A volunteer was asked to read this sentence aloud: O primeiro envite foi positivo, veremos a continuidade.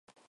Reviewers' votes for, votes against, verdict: 0, 4, rejected